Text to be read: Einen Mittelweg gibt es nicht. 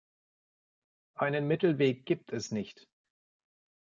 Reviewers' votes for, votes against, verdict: 2, 0, accepted